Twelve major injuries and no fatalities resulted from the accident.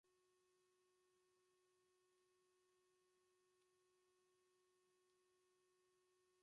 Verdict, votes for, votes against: rejected, 0, 2